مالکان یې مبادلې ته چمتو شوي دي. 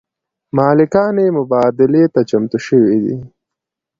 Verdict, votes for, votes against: accepted, 2, 0